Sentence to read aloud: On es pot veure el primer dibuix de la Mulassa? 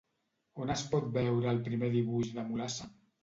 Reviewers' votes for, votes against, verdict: 0, 2, rejected